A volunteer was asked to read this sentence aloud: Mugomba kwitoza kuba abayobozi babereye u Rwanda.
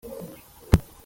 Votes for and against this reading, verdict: 0, 2, rejected